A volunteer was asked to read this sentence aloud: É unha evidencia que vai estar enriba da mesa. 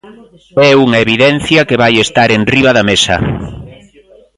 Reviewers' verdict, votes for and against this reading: rejected, 1, 2